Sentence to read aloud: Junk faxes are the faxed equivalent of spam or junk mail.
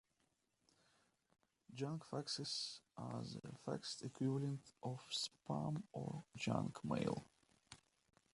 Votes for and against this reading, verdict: 0, 2, rejected